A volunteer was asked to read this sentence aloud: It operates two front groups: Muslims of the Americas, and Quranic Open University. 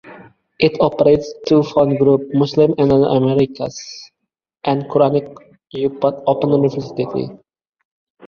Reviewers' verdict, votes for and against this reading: rejected, 0, 2